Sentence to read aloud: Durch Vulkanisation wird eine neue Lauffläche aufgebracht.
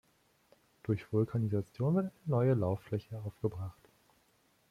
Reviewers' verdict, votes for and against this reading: rejected, 0, 2